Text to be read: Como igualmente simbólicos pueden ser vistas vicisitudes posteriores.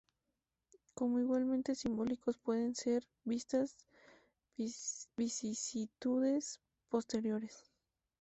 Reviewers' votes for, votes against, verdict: 0, 4, rejected